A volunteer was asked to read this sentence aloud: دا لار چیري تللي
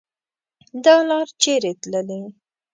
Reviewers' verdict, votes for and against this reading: accepted, 2, 0